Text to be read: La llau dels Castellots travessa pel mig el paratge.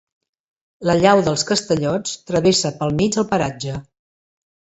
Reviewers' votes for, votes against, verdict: 2, 0, accepted